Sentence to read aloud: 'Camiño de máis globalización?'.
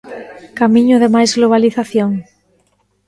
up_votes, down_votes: 2, 0